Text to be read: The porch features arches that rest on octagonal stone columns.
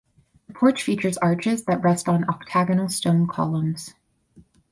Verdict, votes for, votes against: accepted, 4, 0